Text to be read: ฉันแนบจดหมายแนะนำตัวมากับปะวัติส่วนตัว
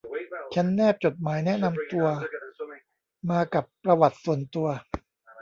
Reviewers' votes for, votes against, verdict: 0, 2, rejected